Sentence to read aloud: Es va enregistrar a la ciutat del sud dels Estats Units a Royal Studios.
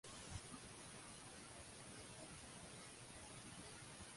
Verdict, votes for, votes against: rejected, 0, 2